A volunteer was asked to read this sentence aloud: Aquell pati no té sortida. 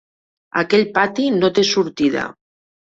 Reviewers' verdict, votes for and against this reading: accepted, 3, 0